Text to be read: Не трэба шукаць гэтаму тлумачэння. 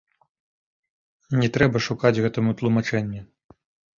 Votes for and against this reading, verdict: 0, 2, rejected